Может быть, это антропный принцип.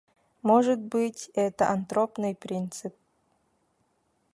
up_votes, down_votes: 0, 2